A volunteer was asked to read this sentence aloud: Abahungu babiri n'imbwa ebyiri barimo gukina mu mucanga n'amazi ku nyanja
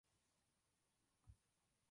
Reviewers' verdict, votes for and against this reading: rejected, 0, 2